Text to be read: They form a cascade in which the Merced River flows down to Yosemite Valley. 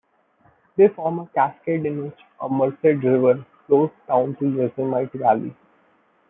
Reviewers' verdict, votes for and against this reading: rejected, 0, 2